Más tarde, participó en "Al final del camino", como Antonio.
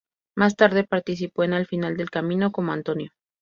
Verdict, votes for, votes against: accepted, 2, 0